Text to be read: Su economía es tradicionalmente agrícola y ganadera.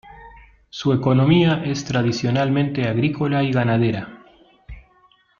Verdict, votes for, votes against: accepted, 2, 0